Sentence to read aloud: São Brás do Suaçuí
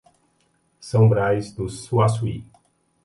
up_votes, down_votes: 2, 0